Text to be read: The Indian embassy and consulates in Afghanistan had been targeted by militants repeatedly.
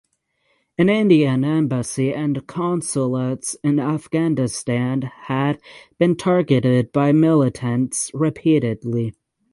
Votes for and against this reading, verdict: 3, 3, rejected